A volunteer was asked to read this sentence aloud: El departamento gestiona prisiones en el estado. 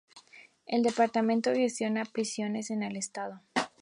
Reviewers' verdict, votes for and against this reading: accepted, 2, 0